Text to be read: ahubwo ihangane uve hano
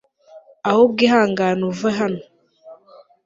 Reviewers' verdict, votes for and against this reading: accepted, 2, 0